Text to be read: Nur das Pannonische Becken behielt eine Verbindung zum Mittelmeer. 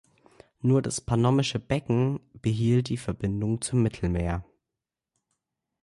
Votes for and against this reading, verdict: 1, 2, rejected